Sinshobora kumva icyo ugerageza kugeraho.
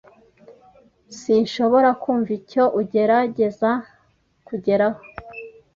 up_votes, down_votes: 2, 0